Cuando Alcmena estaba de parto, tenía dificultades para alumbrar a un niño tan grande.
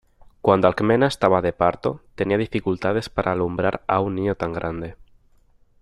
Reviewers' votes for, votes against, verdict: 3, 0, accepted